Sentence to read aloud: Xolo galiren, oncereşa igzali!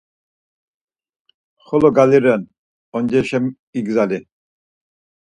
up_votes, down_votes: 4, 0